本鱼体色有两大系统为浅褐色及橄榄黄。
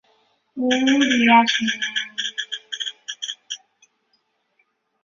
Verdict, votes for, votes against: rejected, 0, 2